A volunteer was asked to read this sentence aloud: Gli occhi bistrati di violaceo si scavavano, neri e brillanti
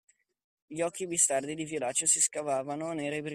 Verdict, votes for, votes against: rejected, 0, 2